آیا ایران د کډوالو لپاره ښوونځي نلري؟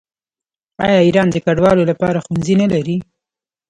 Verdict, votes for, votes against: accepted, 2, 0